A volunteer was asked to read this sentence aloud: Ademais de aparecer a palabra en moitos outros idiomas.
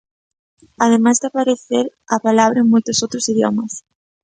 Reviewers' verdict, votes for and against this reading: accepted, 2, 0